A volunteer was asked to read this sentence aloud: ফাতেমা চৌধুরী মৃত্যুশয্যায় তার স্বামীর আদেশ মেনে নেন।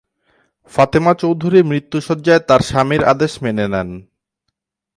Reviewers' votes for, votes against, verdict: 2, 0, accepted